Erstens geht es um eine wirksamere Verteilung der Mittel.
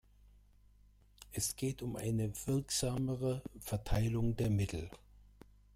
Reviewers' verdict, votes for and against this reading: rejected, 0, 2